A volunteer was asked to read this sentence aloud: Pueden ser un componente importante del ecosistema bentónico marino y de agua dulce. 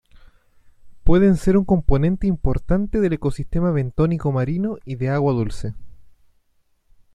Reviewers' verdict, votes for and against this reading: accepted, 2, 0